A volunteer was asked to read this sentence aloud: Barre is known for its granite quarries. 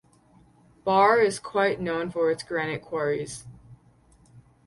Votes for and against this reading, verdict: 2, 2, rejected